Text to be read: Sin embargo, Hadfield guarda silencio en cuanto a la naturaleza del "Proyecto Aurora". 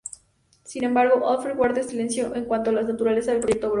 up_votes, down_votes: 0, 2